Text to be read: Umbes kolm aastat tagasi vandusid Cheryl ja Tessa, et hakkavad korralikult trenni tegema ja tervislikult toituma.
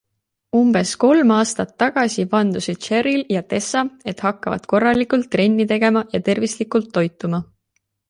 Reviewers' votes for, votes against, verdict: 2, 0, accepted